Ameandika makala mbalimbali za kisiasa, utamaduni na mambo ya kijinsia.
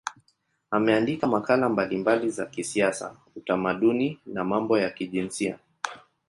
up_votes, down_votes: 2, 0